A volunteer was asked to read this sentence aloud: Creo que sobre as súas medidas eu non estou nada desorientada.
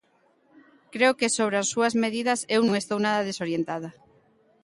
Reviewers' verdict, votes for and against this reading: accepted, 2, 0